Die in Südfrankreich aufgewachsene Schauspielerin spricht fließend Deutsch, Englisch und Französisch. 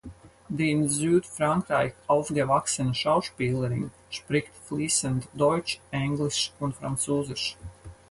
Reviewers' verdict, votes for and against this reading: accepted, 4, 2